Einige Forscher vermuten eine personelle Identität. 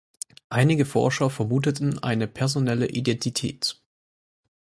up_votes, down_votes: 0, 4